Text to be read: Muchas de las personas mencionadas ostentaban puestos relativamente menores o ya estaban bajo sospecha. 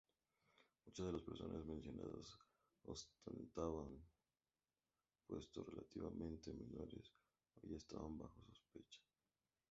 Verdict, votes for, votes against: rejected, 0, 2